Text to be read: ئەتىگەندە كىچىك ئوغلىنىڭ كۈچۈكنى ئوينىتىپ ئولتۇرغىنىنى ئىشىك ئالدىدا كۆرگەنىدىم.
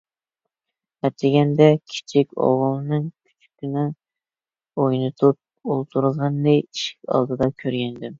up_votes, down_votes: 0, 2